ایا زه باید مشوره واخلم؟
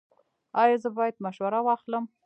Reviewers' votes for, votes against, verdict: 1, 2, rejected